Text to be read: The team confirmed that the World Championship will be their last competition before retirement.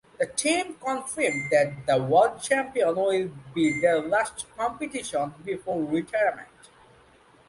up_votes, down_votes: 0, 2